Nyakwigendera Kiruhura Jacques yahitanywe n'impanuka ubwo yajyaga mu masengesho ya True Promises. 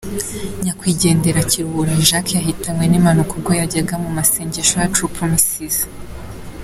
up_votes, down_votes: 2, 0